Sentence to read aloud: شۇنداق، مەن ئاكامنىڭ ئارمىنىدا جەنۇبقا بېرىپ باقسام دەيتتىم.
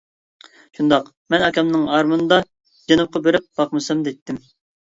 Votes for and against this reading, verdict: 0, 2, rejected